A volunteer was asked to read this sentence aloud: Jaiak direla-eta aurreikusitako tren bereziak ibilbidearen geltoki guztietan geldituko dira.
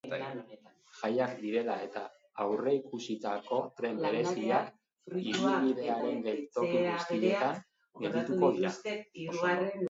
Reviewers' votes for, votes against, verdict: 0, 2, rejected